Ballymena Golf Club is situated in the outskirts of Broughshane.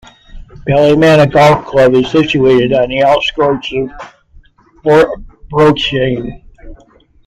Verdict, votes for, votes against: rejected, 0, 2